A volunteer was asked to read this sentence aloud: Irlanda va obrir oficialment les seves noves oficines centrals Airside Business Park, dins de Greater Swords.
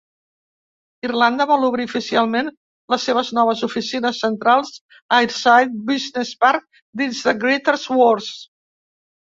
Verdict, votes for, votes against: rejected, 0, 2